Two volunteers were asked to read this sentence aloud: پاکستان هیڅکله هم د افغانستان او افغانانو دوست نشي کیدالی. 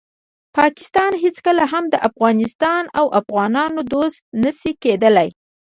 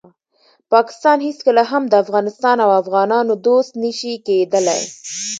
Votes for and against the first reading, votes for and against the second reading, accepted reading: 1, 2, 2, 0, second